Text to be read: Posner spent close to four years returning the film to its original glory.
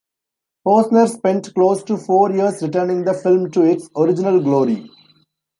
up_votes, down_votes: 1, 2